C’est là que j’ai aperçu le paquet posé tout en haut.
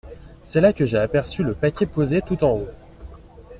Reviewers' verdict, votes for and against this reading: accepted, 2, 0